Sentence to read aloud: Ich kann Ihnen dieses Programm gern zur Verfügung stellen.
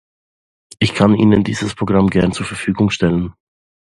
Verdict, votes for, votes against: accepted, 2, 0